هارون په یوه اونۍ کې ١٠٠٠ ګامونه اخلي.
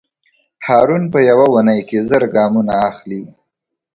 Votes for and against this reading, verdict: 0, 2, rejected